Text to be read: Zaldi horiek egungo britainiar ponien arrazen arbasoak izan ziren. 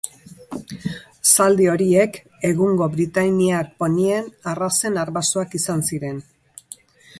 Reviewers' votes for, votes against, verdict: 2, 0, accepted